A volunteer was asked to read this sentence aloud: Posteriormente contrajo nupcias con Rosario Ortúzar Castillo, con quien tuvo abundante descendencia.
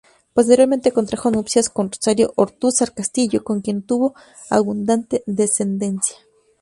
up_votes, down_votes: 2, 0